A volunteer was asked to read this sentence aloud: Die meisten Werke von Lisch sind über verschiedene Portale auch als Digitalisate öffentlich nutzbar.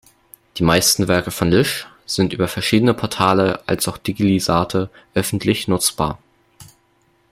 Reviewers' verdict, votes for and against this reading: rejected, 0, 2